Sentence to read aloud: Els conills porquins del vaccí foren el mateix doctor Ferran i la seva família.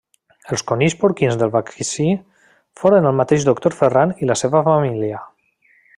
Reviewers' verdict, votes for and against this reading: rejected, 0, 2